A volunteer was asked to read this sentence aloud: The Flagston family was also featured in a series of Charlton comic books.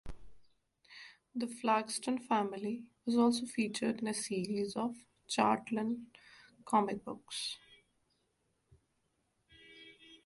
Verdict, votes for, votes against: rejected, 0, 2